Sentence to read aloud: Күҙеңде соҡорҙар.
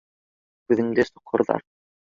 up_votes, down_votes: 2, 1